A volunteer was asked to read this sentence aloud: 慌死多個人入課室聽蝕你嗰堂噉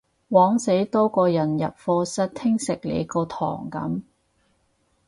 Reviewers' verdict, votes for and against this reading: rejected, 0, 4